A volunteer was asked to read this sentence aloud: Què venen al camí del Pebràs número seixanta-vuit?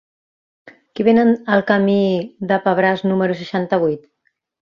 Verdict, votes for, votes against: rejected, 0, 2